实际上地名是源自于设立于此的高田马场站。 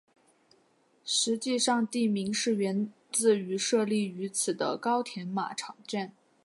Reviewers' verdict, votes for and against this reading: accepted, 3, 2